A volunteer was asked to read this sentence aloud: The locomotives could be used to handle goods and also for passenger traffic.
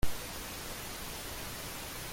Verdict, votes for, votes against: rejected, 0, 2